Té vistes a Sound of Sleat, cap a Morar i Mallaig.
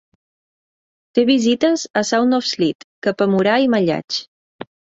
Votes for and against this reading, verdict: 1, 2, rejected